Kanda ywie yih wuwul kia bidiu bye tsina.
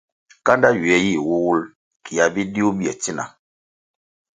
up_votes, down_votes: 2, 0